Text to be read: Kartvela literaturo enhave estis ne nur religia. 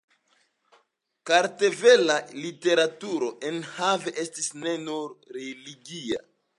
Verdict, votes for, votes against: accepted, 2, 0